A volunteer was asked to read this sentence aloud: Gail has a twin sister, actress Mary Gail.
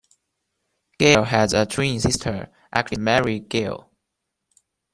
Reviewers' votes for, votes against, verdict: 2, 0, accepted